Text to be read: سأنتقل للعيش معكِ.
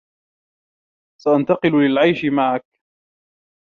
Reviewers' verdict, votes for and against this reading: rejected, 1, 2